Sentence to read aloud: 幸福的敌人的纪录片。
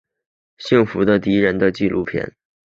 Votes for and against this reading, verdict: 2, 0, accepted